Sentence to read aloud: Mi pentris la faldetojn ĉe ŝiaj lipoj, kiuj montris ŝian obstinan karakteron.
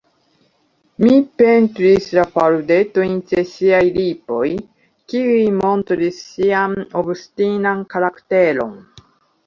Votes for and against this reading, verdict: 0, 2, rejected